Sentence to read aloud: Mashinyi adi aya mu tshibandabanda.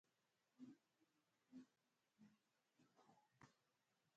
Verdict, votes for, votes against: rejected, 0, 2